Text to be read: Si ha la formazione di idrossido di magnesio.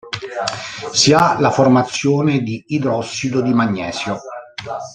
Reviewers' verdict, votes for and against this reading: accepted, 2, 1